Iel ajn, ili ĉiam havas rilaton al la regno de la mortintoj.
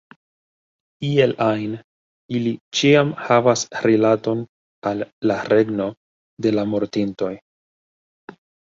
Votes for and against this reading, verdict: 1, 2, rejected